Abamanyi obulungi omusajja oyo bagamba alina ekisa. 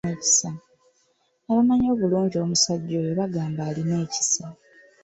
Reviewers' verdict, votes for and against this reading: accepted, 3, 1